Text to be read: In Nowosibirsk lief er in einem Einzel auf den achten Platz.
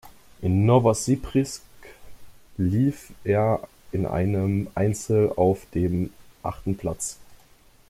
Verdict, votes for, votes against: rejected, 0, 2